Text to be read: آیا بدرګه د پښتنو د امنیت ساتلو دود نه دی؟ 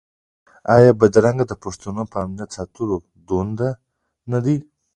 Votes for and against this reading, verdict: 0, 2, rejected